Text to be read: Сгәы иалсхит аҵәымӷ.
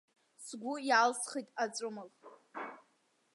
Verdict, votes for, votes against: accepted, 2, 1